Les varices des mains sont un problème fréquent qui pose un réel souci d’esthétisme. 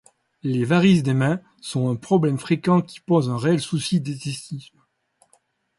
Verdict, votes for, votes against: rejected, 1, 2